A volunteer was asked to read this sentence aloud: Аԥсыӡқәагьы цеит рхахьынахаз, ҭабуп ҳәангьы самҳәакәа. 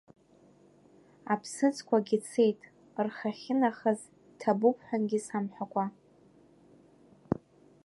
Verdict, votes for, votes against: rejected, 0, 2